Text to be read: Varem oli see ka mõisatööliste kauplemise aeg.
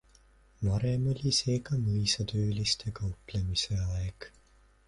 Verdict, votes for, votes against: accepted, 2, 0